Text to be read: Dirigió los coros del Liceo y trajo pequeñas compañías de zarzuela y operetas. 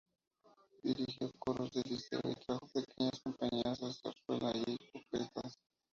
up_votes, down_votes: 0, 4